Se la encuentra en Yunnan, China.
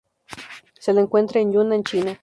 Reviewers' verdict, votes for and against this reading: accepted, 2, 0